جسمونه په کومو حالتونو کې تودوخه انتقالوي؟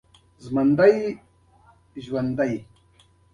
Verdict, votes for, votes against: accepted, 2, 0